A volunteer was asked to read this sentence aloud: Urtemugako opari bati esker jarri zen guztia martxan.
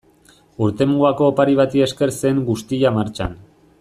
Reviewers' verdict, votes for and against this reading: rejected, 1, 2